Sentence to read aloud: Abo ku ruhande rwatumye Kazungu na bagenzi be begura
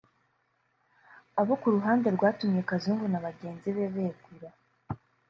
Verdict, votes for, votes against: accepted, 2, 0